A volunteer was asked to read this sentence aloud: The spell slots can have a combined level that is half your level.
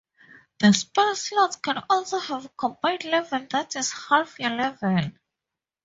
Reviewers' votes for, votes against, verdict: 2, 2, rejected